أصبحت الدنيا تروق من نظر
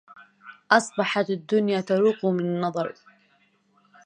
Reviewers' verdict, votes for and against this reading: rejected, 0, 2